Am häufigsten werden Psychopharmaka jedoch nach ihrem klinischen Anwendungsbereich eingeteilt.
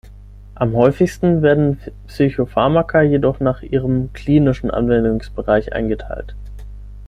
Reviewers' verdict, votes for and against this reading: rejected, 3, 6